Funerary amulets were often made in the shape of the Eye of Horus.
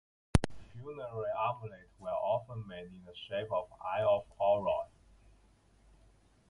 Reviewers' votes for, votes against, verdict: 0, 2, rejected